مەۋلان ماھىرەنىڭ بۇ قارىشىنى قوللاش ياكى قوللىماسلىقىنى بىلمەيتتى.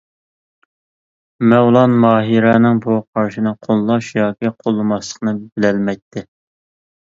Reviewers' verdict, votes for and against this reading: rejected, 1, 2